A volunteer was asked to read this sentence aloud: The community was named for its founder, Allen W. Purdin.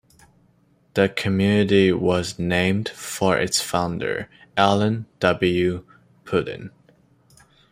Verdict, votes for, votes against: accepted, 2, 1